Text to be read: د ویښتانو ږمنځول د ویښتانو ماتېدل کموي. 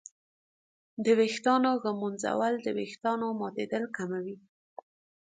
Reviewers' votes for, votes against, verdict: 2, 0, accepted